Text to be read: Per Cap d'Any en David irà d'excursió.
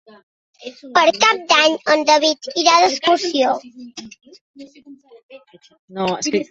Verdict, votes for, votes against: rejected, 1, 2